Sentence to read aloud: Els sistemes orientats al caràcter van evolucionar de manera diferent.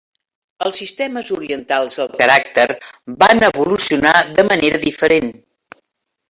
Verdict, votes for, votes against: rejected, 0, 2